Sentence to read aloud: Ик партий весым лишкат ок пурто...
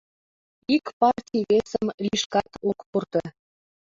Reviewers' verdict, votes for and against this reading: rejected, 1, 2